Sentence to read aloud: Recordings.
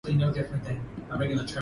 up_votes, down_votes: 2, 4